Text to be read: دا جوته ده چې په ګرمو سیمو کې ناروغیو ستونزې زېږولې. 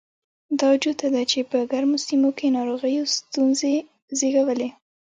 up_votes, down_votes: 1, 2